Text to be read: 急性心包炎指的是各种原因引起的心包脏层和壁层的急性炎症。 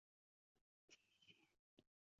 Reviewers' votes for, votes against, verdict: 0, 2, rejected